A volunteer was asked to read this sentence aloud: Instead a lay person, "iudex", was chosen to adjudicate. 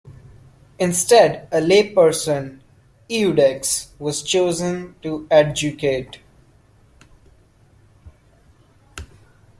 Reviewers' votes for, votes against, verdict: 2, 1, accepted